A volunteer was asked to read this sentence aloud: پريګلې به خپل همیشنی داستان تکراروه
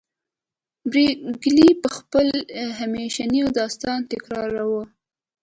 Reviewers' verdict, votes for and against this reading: accepted, 3, 1